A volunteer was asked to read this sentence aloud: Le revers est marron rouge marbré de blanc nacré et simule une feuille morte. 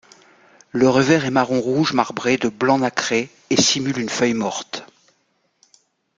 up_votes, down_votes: 2, 0